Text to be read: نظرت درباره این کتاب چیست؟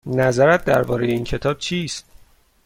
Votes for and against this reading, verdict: 2, 0, accepted